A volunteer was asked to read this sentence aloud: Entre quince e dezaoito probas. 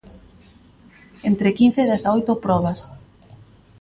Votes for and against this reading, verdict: 2, 0, accepted